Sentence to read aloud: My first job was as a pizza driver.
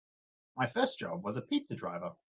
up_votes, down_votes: 0, 2